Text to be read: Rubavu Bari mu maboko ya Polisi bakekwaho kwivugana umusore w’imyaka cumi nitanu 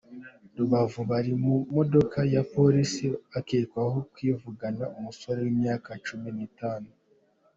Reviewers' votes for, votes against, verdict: 2, 1, accepted